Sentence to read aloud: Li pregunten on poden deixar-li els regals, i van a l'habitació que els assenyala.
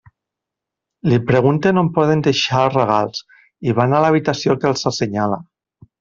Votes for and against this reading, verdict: 1, 2, rejected